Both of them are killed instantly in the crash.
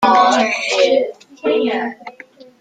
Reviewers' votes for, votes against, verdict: 0, 2, rejected